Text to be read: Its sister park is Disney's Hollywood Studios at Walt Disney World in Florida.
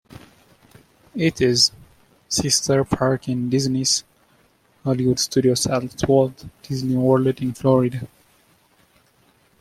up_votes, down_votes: 1, 2